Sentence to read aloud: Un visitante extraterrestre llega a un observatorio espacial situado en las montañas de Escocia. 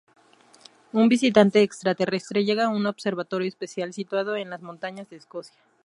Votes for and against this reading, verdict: 2, 0, accepted